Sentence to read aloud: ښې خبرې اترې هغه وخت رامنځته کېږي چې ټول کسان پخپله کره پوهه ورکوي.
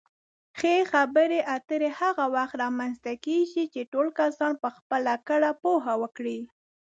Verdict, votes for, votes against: rejected, 1, 2